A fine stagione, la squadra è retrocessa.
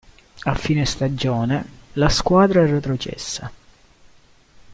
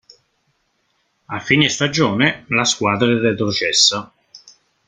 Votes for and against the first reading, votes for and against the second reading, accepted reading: 2, 0, 1, 2, first